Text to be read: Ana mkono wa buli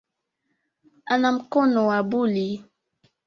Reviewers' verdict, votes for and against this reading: accepted, 2, 0